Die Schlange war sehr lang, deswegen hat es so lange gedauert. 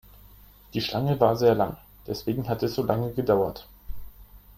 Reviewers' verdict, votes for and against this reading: accepted, 3, 0